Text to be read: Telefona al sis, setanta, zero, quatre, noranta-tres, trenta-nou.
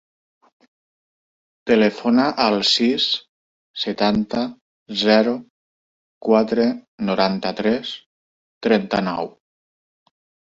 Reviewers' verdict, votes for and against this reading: accepted, 2, 0